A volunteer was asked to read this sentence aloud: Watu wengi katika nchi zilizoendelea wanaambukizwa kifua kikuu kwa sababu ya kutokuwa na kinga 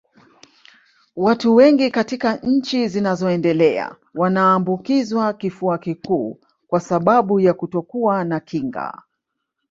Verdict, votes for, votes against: rejected, 0, 2